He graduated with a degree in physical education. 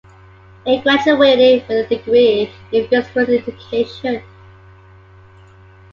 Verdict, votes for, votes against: accepted, 2, 0